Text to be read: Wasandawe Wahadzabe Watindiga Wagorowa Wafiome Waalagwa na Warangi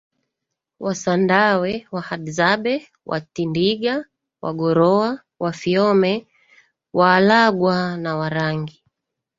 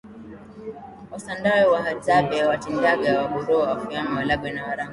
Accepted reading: second